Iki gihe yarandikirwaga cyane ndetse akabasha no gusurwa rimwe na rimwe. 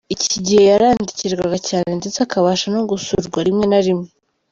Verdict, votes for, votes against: accepted, 3, 0